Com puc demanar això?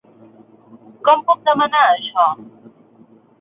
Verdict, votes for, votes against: accepted, 6, 0